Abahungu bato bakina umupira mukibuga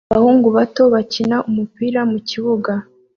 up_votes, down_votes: 2, 0